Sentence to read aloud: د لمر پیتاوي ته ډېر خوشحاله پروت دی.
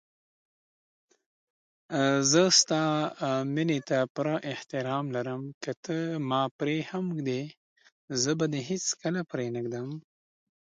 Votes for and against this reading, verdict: 0, 2, rejected